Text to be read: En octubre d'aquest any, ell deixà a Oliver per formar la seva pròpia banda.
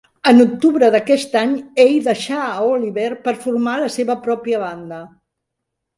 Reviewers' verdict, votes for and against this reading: rejected, 1, 2